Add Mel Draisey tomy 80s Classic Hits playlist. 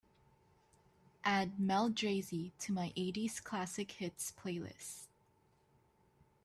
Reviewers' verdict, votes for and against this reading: rejected, 0, 2